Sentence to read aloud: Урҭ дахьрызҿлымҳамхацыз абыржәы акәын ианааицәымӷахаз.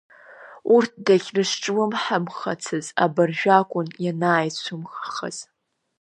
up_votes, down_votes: 2, 0